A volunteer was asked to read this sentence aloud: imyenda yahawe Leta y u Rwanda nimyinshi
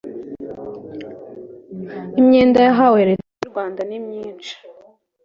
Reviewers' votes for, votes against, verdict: 2, 0, accepted